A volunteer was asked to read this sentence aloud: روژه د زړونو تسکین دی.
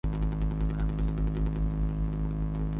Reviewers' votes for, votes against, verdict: 2, 1, accepted